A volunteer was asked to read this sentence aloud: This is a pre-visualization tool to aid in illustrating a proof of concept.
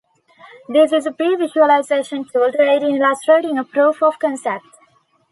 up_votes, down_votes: 3, 1